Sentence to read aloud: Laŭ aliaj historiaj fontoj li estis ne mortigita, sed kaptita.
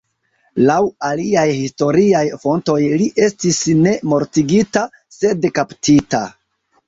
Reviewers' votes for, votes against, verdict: 0, 2, rejected